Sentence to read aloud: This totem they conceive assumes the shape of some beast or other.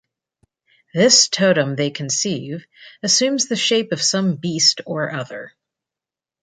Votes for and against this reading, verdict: 2, 0, accepted